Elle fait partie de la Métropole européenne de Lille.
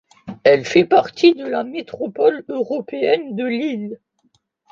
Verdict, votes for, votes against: accepted, 2, 1